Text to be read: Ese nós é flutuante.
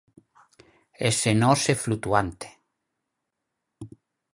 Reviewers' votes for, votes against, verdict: 4, 0, accepted